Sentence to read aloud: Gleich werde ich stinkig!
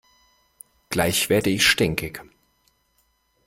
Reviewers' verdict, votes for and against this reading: accepted, 2, 0